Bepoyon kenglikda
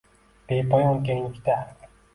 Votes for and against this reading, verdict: 2, 0, accepted